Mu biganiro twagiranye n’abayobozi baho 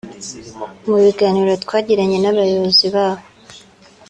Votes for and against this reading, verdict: 3, 0, accepted